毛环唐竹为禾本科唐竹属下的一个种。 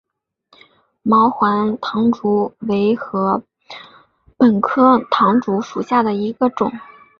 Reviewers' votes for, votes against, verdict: 4, 0, accepted